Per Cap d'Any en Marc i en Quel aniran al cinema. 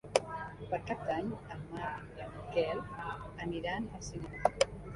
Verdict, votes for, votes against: accepted, 3, 1